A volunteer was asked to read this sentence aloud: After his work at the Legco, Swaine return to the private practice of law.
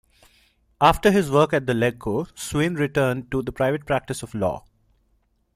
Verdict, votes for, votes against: accepted, 2, 0